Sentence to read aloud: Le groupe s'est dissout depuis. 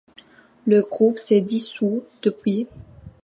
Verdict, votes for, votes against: accepted, 2, 0